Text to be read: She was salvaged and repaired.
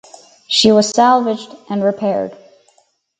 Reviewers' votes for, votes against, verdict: 4, 0, accepted